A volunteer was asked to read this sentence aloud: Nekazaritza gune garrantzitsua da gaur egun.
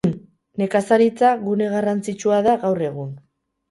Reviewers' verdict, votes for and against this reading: accepted, 4, 0